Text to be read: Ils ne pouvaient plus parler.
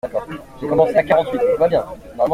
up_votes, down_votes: 0, 2